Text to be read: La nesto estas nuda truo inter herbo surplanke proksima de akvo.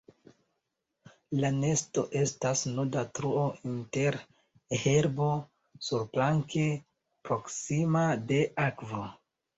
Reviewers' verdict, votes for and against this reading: rejected, 0, 2